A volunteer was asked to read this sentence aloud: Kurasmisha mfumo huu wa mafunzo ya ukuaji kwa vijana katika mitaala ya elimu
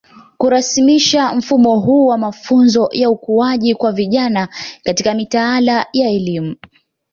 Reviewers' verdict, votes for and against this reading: accepted, 2, 0